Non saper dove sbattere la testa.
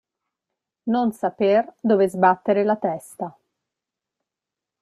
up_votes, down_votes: 2, 0